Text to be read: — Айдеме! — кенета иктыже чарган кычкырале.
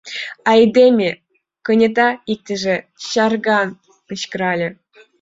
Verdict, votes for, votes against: accepted, 2, 0